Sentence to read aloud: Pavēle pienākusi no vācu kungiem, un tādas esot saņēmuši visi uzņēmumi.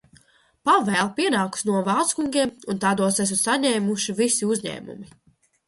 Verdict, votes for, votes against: rejected, 0, 2